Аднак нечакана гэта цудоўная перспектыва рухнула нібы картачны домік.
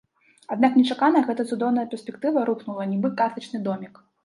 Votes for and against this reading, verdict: 2, 0, accepted